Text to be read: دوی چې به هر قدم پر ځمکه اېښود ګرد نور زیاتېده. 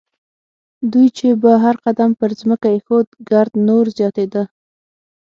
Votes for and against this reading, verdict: 6, 0, accepted